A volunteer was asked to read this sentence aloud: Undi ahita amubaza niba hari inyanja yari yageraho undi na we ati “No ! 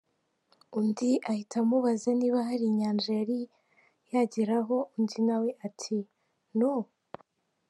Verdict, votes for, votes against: accepted, 2, 1